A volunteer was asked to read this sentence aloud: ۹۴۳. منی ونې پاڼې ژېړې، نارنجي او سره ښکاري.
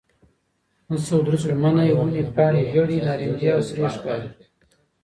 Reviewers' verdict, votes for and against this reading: rejected, 0, 2